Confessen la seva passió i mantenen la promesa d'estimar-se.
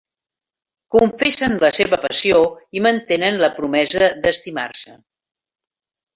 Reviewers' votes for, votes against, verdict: 3, 0, accepted